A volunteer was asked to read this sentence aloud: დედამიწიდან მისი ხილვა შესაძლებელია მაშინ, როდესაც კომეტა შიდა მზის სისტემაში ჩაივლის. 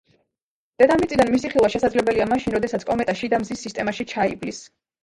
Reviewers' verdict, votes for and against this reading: rejected, 1, 2